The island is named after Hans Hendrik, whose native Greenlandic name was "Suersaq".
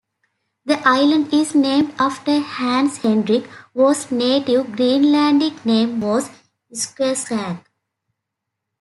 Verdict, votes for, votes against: accepted, 2, 1